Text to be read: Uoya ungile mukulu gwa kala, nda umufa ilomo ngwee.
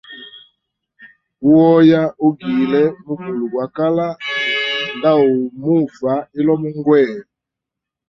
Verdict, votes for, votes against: rejected, 0, 2